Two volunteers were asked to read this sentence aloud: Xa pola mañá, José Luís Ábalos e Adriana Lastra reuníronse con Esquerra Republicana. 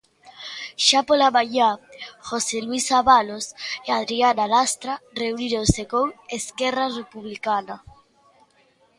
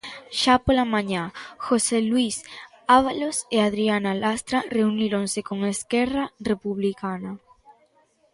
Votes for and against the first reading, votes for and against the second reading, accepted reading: 0, 2, 2, 0, second